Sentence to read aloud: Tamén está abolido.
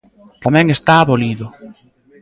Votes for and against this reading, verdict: 0, 2, rejected